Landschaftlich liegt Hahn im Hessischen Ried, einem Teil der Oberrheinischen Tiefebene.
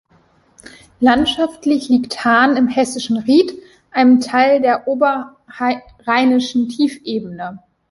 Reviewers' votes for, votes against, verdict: 2, 1, accepted